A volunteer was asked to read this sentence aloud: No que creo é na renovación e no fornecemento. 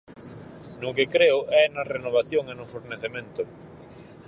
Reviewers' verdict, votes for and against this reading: accepted, 4, 0